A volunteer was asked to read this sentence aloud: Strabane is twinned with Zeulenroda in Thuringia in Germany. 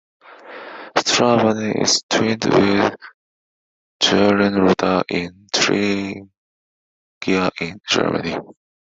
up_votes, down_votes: 0, 2